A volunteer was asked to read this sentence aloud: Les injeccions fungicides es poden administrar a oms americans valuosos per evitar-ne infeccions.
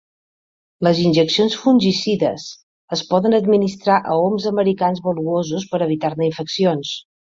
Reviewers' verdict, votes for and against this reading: accepted, 3, 0